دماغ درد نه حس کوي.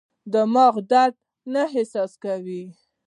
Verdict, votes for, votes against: rejected, 1, 2